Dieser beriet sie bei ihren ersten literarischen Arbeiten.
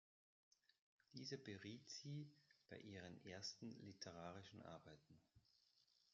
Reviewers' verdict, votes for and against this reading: accepted, 2, 0